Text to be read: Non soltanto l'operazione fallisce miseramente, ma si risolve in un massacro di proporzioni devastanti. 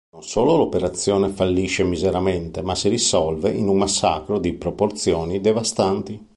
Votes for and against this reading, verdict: 1, 2, rejected